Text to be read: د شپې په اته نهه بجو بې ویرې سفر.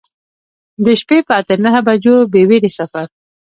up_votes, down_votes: 1, 2